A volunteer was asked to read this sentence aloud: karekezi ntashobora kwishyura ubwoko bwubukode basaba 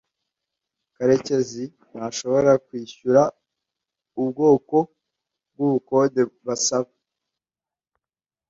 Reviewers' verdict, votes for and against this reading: accepted, 2, 0